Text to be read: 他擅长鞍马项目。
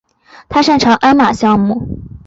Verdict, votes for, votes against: accepted, 4, 2